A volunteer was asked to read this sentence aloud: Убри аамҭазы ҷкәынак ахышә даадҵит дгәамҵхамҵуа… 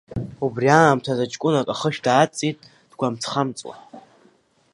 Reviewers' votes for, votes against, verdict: 2, 1, accepted